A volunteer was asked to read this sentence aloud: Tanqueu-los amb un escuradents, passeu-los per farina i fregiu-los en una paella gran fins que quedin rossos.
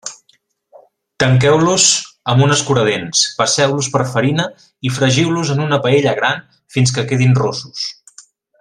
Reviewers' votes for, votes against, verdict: 2, 0, accepted